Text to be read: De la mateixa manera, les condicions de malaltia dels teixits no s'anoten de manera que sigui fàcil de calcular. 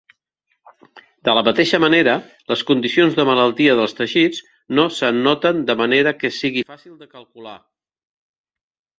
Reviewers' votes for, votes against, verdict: 3, 0, accepted